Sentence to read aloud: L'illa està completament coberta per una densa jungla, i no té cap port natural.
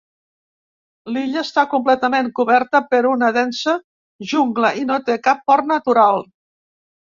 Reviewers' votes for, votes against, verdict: 2, 0, accepted